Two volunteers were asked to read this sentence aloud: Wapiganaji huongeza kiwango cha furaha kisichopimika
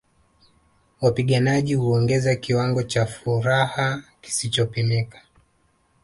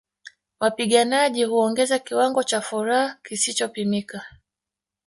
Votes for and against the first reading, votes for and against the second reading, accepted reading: 2, 0, 0, 2, first